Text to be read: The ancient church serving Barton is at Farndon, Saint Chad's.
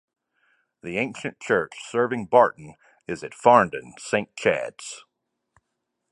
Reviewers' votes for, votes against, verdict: 2, 0, accepted